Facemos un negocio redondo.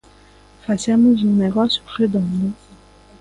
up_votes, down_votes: 2, 0